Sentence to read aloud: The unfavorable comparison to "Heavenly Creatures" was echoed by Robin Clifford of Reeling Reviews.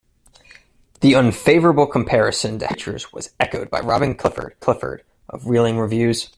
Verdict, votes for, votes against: rejected, 0, 2